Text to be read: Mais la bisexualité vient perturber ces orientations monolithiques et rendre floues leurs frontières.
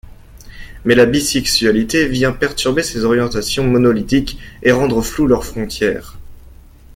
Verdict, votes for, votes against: accepted, 2, 0